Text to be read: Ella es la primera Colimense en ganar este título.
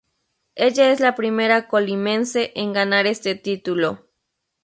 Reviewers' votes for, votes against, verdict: 2, 0, accepted